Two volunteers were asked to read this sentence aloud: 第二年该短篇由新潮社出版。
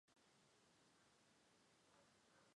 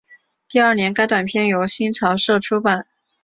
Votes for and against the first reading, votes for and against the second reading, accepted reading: 0, 2, 2, 0, second